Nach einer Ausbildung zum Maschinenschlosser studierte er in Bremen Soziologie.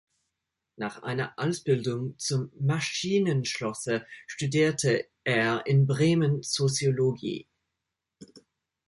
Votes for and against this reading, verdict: 2, 1, accepted